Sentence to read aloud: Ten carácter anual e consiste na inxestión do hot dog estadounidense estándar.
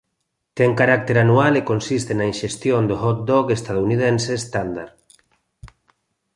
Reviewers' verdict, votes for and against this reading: accepted, 3, 1